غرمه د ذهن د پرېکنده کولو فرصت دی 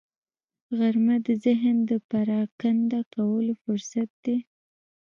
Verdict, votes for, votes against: accepted, 2, 1